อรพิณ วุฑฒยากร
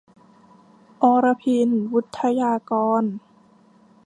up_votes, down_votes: 2, 0